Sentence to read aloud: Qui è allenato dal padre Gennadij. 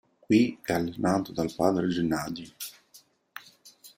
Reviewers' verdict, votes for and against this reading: accepted, 2, 0